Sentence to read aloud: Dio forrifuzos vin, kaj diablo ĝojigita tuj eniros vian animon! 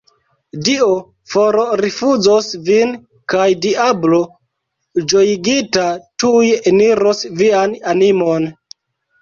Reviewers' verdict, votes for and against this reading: rejected, 1, 2